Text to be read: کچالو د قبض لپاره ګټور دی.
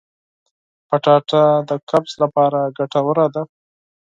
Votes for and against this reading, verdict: 2, 4, rejected